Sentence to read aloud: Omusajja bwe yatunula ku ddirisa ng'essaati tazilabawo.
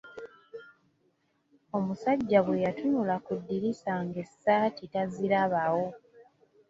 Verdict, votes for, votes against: accepted, 2, 0